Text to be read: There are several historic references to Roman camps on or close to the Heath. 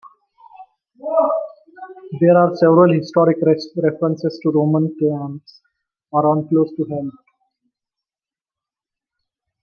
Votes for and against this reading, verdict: 0, 2, rejected